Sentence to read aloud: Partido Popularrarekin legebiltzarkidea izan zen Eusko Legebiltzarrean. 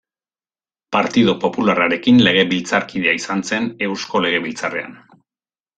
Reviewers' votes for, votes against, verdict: 2, 0, accepted